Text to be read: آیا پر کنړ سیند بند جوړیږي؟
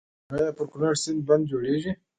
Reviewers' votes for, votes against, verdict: 2, 0, accepted